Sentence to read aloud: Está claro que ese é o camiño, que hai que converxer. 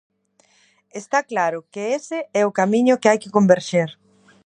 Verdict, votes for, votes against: accepted, 2, 0